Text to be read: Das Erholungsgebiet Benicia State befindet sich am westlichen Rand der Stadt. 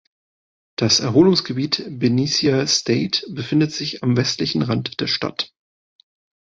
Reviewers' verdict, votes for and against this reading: accepted, 2, 0